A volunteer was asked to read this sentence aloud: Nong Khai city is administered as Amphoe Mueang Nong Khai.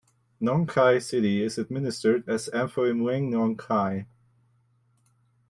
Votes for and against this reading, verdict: 2, 0, accepted